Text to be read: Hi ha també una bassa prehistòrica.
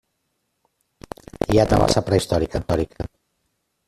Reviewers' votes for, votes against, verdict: 0, 2, rejected